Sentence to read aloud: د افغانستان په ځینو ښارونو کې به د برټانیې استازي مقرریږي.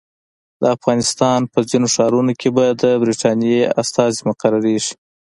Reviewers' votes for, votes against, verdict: 2, 0, accepted